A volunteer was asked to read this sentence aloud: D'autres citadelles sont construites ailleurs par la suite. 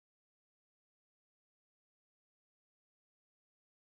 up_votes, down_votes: 0, 4